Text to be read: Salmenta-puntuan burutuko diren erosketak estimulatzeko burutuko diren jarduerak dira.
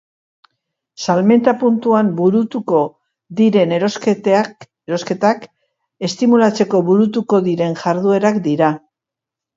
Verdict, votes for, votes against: rejected, 0, 2